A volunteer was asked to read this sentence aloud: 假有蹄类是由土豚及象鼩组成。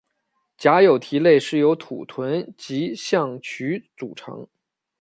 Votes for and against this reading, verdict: 2, 0, accepted